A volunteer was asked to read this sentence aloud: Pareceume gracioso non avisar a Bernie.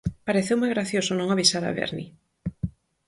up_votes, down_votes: 4, 0